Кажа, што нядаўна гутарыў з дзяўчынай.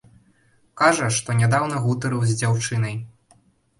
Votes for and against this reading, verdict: 2, 0, accepted